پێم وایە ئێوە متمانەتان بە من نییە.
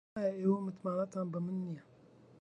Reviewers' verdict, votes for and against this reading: rejected, 0, 2